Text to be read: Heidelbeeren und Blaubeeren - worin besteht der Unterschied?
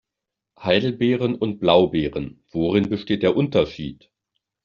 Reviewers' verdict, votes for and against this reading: accepted, 2, 0